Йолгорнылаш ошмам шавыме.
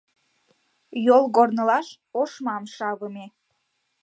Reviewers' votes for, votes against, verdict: 2, 0, accepted